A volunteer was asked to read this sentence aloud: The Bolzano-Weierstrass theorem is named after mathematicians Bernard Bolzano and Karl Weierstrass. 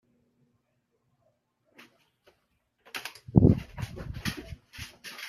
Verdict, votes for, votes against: rejected, 0, 2